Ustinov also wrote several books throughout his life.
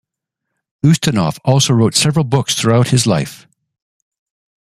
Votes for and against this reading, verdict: 2, 0, accepted